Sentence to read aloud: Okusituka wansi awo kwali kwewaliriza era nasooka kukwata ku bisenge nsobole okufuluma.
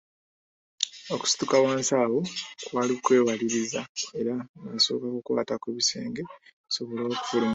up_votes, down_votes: 1, 2